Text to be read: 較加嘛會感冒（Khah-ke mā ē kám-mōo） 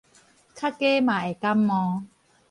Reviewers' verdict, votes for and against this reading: accepted, 4, 0